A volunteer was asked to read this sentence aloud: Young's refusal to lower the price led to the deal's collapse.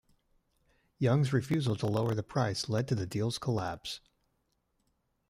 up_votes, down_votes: 1, 2